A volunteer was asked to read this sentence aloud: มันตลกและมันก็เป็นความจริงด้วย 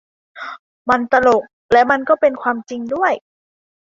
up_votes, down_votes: 2, 0